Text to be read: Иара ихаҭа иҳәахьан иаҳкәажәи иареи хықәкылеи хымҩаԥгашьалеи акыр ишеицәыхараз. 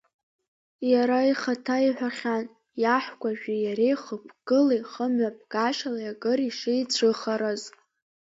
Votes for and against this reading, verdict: 2, 1, accepted